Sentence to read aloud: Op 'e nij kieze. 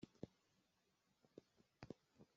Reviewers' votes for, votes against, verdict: 0, 2, rejected